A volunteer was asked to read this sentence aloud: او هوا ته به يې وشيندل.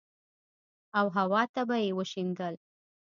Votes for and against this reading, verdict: 1, 2, rejected